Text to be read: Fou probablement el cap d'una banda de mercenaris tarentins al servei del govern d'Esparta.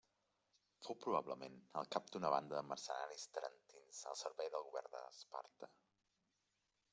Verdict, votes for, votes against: accepted, 2, 1